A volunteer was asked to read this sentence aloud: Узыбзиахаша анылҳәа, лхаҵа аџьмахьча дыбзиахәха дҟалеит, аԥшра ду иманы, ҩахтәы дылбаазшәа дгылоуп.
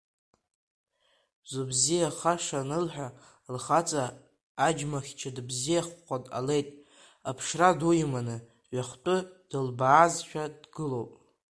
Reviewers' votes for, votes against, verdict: 1, 2, rejected